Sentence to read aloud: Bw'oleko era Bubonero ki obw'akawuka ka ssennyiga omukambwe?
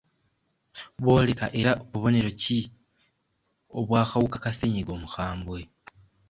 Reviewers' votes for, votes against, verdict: 0, 2, rejected